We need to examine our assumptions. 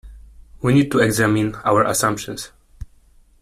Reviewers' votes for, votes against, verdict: 2, 0, accepted